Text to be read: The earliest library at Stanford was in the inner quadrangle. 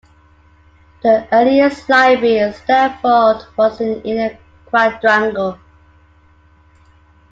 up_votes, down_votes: 2, 0